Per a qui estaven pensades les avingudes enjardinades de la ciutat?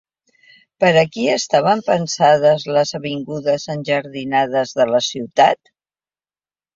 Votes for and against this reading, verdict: 3, 0, accepted